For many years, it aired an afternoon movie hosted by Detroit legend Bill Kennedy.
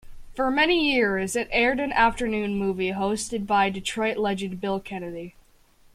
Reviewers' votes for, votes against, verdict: 2, 0, accepted